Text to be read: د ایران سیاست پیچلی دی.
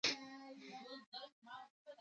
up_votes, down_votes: 2, 1